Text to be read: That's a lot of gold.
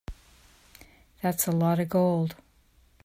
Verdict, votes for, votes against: accepted, 2, 0